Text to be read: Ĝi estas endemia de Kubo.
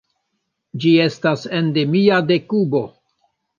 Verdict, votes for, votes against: accepted, 2, 0